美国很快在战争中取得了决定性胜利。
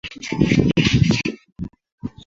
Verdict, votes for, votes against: rejected, 0, 2